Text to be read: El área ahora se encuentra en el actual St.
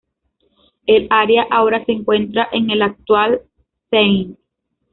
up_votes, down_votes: 1, 2